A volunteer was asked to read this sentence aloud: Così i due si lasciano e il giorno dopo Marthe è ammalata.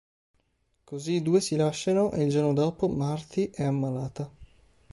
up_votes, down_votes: 2, 0